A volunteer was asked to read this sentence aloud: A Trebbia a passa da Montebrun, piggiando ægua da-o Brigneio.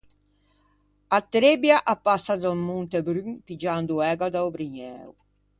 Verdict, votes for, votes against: rejected, 0, 2